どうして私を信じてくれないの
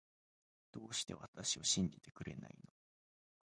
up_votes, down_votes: 1, 2